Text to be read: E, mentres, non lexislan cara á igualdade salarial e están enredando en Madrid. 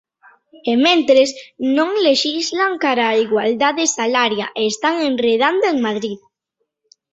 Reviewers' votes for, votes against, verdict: 1, 2, rejected